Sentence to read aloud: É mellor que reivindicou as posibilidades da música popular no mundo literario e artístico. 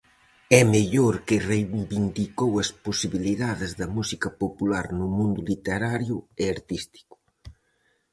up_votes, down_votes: 2, 2